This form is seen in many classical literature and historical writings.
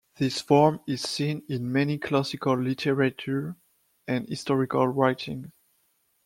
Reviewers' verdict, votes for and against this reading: accepted, 2, 1